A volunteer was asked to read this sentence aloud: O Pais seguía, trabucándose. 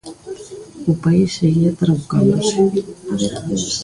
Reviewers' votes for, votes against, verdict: 0, 2, rejected